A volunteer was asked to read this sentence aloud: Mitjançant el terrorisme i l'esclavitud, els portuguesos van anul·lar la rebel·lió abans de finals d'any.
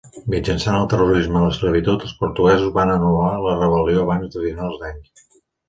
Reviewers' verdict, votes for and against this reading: rejected, 1, 2